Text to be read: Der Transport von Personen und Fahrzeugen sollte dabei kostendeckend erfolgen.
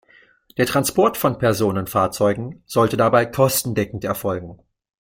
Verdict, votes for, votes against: rejected, 0, 2